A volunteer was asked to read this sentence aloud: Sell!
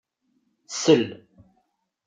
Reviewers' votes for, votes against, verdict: 2, 0, accepted